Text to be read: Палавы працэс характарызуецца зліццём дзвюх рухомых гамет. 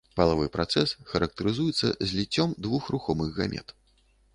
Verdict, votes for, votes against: rejected, 1, 2